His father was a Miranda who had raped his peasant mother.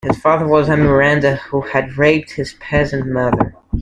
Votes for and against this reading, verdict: 2, 0, accepted